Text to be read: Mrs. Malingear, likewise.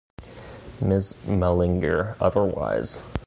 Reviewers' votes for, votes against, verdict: 1, 2, rejected